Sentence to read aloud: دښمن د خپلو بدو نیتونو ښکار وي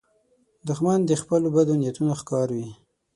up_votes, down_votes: 6, 0